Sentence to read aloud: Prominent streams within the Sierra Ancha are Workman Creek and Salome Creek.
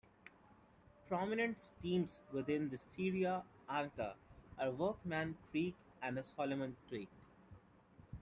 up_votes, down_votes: 0, 2